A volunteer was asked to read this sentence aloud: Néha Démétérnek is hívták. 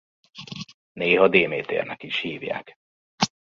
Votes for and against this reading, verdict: 0, 2, rejected